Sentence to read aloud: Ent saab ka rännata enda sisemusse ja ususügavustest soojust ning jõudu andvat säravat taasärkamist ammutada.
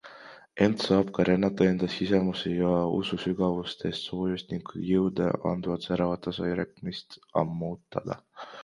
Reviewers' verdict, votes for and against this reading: rejected, 1, 2